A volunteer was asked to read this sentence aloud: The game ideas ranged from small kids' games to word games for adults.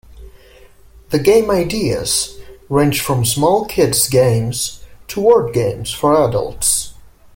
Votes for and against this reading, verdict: 2, 0, accepted